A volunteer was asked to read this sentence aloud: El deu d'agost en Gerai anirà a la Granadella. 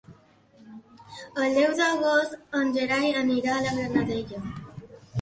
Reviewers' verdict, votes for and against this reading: accepted, 2, 0